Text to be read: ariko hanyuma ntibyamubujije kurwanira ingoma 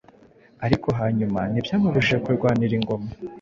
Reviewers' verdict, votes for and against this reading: accepted, 2, 0